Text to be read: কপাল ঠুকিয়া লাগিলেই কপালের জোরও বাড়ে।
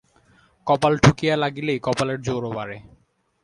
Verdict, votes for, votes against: accepted, 4, 0